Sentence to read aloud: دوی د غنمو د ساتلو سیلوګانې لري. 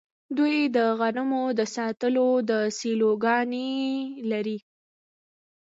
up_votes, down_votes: 1, 2